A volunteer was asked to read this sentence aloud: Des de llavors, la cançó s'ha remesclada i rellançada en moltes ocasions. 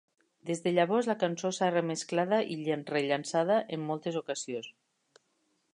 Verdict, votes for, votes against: rejected, 1, 2